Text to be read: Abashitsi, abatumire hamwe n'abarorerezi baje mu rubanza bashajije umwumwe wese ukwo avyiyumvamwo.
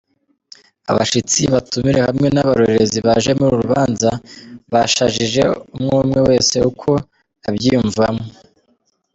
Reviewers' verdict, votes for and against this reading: accepted, 2, 0